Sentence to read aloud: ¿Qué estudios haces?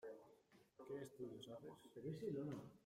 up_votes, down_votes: 0, 2